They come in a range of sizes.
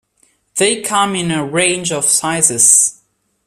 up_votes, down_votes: 2, 0